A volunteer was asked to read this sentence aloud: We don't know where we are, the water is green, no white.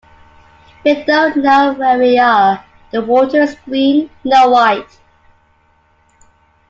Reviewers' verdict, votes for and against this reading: accepted, 2, 1